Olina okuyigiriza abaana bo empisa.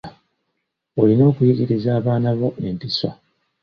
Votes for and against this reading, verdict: 2, 0, accepted